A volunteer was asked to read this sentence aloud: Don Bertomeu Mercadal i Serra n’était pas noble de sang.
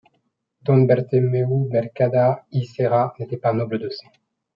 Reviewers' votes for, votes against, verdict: 2, 0, accepted